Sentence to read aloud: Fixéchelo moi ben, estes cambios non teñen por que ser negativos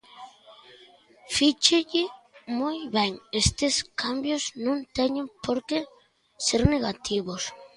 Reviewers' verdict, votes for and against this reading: rejected, 0, 2